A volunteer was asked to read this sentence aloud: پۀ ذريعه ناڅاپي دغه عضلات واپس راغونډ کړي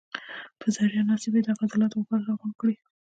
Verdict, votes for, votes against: accepted, 2, 0